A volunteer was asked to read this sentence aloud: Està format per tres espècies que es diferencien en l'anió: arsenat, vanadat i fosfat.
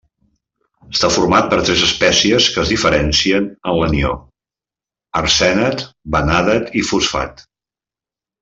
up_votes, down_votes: 0, 2